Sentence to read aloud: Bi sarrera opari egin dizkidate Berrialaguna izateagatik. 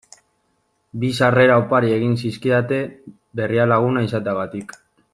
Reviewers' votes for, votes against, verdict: 0, 2, rejected